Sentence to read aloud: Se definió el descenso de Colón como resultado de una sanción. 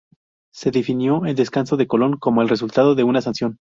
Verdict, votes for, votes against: rejected, 0, 2